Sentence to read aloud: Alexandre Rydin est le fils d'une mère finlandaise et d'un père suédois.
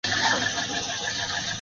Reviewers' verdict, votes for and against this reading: rejected, 0, 2